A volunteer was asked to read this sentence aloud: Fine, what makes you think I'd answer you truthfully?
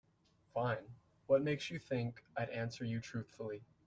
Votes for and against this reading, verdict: 3, 0, accepted